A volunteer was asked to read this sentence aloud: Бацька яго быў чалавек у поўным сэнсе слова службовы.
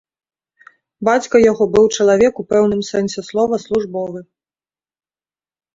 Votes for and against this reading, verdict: 0, 2, rejected